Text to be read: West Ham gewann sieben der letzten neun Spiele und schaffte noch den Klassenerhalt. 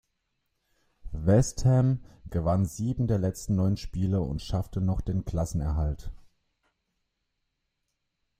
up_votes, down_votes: 2, 0